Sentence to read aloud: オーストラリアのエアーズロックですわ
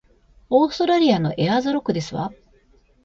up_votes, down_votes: 2, 0